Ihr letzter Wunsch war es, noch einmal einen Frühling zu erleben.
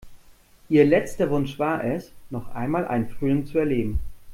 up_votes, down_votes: 2, 0